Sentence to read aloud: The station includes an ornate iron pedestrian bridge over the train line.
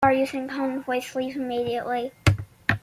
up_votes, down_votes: 0, 2